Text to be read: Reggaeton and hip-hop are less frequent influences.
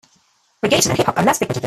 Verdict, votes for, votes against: rejected, 0, 2